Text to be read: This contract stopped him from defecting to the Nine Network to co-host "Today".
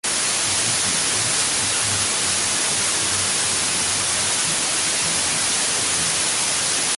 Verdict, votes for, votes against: rejected, 0, 2